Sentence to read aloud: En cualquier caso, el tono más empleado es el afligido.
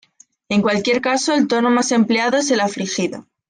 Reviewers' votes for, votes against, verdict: 2, 0, accepted